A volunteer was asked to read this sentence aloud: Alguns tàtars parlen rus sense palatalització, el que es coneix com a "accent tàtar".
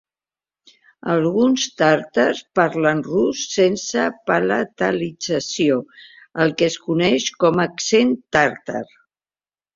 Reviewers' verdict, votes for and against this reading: rejected, 0, 2